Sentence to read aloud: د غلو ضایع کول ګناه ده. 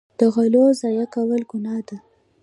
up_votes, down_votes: 2, 1